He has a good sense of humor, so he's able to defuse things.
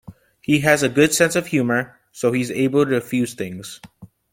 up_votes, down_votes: 2, 0